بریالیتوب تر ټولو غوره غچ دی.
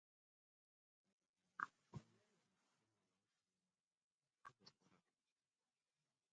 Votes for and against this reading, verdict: 0, 2, rejected